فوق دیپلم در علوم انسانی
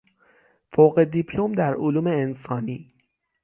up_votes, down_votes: 6, 0